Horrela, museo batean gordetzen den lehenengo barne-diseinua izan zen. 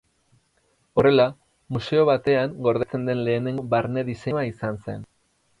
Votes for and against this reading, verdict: 2, 4, rejected